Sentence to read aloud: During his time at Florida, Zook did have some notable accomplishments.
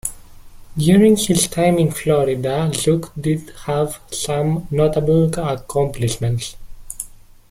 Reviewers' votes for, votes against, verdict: 2, 0, accepted